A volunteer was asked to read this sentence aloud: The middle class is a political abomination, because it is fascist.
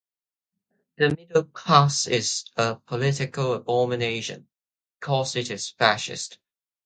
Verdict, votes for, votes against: accepted, 2, 0